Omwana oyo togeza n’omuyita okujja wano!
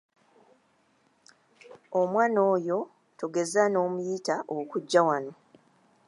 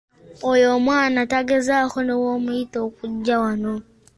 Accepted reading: first